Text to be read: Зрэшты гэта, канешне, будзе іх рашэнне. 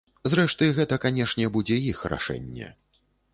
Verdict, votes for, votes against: accepted, 2, 0